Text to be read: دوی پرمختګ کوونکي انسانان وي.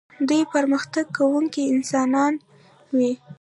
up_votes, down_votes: 2, 0